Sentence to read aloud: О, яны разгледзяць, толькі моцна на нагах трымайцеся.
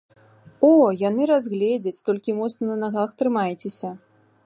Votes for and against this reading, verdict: 2, 0, accepted